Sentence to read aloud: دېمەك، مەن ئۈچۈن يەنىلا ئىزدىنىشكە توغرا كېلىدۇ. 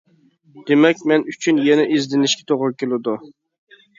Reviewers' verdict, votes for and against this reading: rejected, 1, 2